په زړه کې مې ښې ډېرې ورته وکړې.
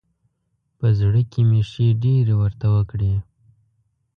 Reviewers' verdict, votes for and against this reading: accepted, 2, 0